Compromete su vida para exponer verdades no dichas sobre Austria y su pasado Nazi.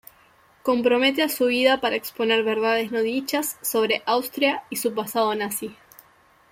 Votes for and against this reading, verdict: 1, 2, rejected